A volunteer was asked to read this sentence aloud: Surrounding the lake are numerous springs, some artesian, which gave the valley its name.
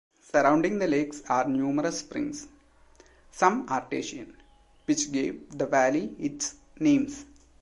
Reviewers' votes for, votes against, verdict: 0, 2, rejected